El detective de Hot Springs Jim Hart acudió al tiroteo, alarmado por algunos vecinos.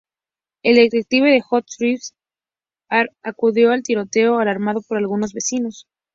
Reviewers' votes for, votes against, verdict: 0, 2, rejected